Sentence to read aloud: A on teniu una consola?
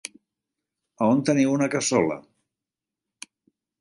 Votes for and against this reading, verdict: 1, 3, rejected